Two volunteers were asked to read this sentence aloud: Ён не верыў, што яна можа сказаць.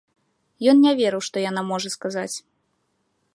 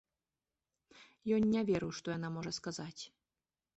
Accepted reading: second